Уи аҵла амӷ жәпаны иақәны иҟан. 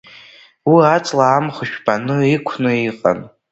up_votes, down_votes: 1, 2